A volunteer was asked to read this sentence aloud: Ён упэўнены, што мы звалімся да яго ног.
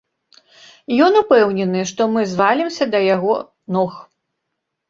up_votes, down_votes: 1, 2